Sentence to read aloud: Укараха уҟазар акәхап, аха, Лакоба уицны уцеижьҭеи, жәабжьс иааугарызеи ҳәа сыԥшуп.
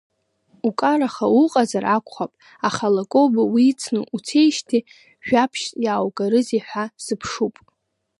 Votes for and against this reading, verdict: 0, 2, rejected